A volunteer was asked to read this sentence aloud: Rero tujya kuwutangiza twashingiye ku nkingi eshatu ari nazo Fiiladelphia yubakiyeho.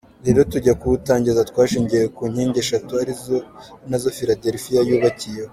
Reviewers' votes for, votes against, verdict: 0, 2, rejected